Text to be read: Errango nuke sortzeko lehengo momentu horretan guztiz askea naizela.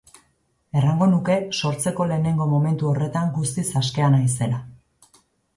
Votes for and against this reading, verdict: 2, 0, accepted